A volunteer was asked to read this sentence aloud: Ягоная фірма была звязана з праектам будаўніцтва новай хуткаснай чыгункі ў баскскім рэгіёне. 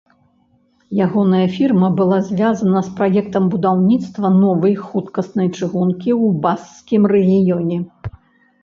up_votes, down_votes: 2, 0